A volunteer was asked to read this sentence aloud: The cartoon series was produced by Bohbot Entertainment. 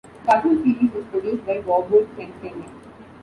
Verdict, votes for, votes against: rejected, 0, 2